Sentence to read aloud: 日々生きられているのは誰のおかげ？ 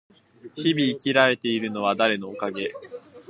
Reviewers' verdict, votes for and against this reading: accepted, 2, 0